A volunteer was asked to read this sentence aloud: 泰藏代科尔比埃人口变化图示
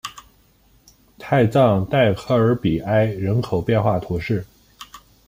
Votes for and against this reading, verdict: 2, 0, accepted